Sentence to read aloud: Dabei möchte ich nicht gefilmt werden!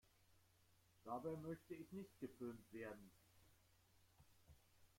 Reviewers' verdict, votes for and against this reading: rejected, 1, 2